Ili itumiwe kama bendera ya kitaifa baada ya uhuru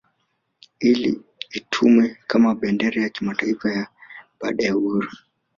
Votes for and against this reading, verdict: 0, 3, rejected